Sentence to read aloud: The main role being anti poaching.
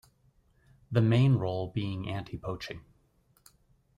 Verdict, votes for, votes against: accepted, 2, 0